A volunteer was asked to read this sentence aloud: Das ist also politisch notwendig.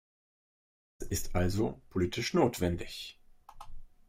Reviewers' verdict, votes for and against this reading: rejected, 1, 2